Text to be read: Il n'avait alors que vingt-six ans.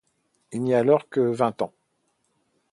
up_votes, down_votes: 0, 2